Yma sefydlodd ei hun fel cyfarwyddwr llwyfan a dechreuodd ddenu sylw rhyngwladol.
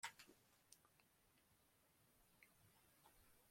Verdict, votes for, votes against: rejected, 0, 2